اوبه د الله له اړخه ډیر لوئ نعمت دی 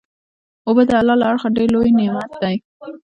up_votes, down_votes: 2, 0